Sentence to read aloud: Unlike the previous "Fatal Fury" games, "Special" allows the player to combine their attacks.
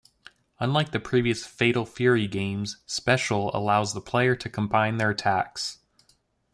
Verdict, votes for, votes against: accepted, 2, 0